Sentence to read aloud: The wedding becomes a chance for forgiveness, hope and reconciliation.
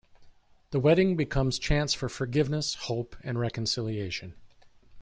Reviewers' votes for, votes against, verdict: 0, 3, rejected